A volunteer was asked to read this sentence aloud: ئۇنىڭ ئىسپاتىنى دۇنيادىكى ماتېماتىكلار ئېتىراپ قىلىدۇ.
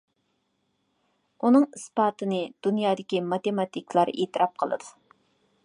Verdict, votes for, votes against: accepted, 2, 0